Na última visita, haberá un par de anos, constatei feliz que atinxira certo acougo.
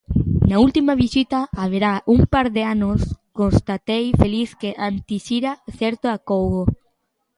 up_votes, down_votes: 0, 2